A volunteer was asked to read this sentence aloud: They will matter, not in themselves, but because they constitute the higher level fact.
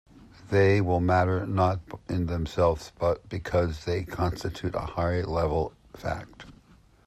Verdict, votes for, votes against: accepted, 2, 0